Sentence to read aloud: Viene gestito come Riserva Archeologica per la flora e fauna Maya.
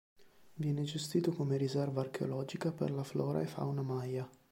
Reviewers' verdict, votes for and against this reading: accepted, 2, 0